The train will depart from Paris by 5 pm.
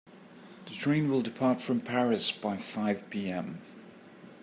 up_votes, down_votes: 0, 2